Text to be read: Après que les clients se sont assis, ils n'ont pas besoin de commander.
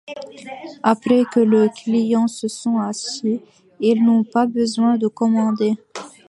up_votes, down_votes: 0, 2